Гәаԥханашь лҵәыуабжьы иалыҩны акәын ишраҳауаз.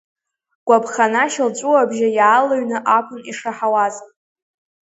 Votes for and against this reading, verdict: 1, 2, rejected